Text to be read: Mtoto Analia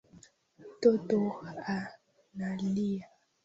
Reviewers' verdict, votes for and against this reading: rejected, 0, 2